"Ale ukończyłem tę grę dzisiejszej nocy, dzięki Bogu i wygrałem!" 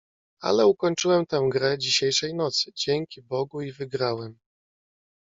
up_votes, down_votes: 2, 0